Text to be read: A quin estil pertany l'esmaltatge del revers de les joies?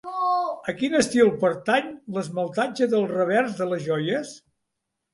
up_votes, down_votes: 0, 2